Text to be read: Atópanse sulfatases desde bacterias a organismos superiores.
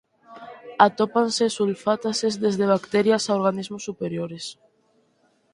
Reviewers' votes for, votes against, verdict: 2, 4, rejected